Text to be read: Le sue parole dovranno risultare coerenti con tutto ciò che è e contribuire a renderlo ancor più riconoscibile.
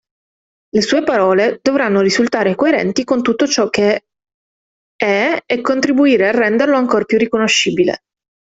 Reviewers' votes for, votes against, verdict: 1, 2, rejected